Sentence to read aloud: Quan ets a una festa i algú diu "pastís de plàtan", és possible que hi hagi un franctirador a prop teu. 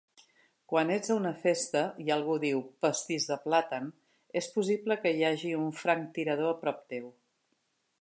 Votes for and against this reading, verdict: 2, 0, accepted